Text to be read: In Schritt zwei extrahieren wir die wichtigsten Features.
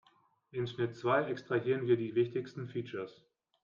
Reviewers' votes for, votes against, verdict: 2, 0, accepted